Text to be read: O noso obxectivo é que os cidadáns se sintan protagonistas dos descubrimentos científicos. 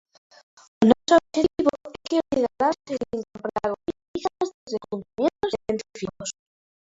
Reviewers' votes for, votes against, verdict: 0, 2, rejected